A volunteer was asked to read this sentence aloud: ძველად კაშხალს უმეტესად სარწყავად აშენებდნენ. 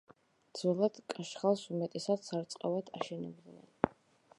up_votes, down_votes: 2, 1